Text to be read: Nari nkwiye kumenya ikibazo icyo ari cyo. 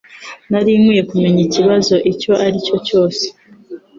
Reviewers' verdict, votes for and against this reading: rejected, 1, 2